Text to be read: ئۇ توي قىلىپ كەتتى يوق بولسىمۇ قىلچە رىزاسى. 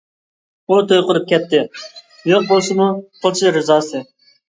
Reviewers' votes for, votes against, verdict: 1, 2, rejected